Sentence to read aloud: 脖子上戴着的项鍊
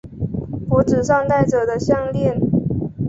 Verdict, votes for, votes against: accepted, 2, 1